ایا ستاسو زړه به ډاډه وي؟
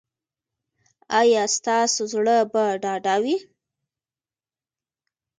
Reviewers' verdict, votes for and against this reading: accepted, 2, 0